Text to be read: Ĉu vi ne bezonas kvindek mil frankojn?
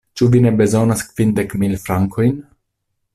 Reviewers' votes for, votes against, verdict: 2, 0, accepted